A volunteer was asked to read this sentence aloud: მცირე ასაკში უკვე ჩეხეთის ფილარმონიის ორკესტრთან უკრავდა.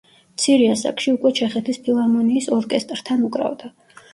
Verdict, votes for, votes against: rejected, 0, 2